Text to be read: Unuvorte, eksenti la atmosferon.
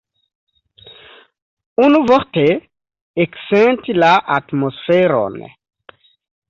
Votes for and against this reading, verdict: 2, 0, accepted